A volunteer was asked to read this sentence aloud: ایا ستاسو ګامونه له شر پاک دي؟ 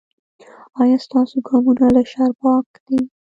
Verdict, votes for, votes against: rejected, 0, 2